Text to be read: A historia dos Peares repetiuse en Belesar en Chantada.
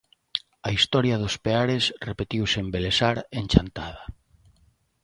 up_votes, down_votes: 2, 0